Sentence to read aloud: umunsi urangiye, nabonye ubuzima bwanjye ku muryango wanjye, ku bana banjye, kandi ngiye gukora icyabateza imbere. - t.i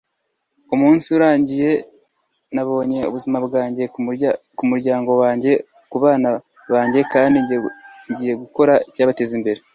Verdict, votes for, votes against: rejected, 1, 2